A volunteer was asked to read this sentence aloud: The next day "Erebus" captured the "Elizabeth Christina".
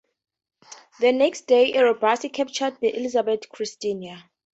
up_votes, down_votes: 2, 0